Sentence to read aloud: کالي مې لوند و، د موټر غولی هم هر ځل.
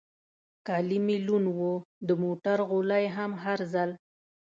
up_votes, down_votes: 2, 0